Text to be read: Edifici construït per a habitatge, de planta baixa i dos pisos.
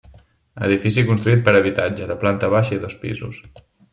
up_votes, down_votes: 2, 1